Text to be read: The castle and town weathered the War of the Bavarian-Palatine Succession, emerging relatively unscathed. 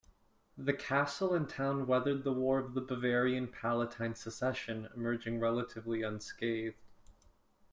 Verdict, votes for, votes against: accepted, 2, 0